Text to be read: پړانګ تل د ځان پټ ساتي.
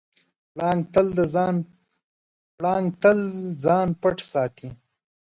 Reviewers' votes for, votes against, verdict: 1, 2, rejected